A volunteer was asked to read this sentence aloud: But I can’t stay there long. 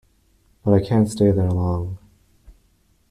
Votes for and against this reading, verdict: 2, 0, accepted